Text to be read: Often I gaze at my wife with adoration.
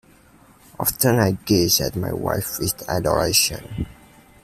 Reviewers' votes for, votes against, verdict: 2, 0, accepted